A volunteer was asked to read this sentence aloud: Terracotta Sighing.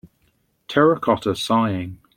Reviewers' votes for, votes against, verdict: 2, 0, accepted